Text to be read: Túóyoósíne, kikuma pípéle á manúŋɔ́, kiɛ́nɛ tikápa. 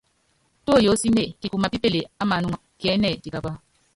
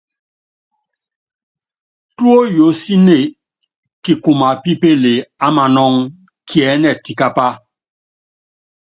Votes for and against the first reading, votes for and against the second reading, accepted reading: 0, 2, 2, 0, second